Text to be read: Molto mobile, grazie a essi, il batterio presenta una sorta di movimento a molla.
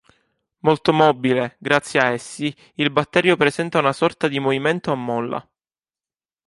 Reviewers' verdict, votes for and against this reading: accepted, 2, 0